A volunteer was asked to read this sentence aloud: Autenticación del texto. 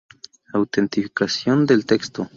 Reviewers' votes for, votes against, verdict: 0, 2, rejected